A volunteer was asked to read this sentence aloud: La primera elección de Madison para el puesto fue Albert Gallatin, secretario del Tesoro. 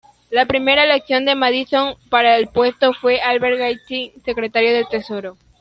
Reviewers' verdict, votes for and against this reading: rejected, 0, 2